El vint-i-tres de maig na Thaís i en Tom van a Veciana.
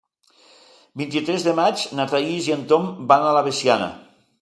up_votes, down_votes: 2, 1